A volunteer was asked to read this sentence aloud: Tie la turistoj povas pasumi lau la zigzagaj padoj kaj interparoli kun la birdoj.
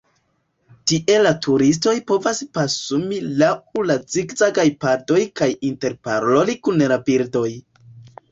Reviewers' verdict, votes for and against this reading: accepted, 2, 1